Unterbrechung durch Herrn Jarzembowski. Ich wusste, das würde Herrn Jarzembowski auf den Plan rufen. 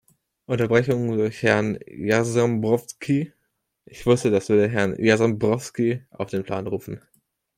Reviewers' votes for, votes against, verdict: 0, 2, rejected